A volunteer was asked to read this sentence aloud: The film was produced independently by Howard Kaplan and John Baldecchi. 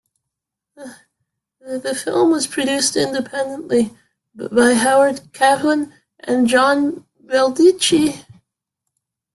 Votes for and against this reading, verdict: 2, 1, accepted